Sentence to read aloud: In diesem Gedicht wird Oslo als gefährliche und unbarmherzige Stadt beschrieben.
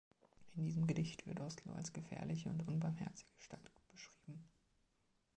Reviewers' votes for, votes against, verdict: 1, 2, rejected